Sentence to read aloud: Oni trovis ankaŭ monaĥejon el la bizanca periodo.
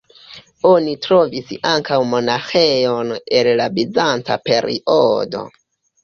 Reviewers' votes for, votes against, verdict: 2, 0, accepted